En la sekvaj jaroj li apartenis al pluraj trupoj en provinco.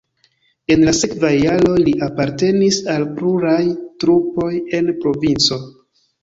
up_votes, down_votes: 2, 1